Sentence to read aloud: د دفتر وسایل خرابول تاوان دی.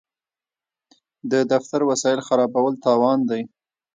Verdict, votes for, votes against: rejected, 1, 2